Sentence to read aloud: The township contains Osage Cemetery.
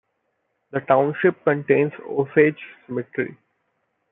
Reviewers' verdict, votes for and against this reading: accepted, 2, 0